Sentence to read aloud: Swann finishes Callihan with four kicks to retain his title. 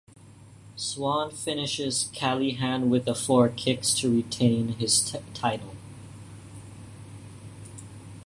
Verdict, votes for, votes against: rejected, 0, 2